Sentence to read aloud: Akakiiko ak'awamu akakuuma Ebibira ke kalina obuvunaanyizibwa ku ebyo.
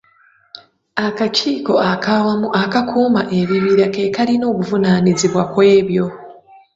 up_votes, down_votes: 3, 2